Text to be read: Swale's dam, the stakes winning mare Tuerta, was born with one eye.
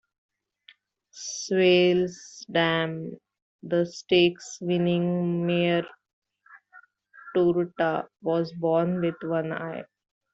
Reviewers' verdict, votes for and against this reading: rejected, 0, 3